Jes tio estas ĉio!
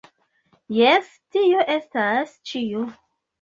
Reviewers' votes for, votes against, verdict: 2, 0, accepted